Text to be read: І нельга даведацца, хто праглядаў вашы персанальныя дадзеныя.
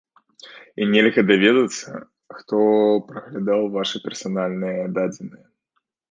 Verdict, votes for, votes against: rejected, 1, 2